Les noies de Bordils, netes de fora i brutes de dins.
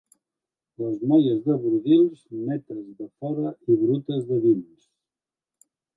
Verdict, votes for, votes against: rejected, 1, 2